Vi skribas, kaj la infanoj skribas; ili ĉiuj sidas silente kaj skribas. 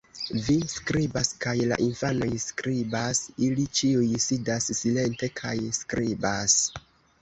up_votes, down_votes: 1, 2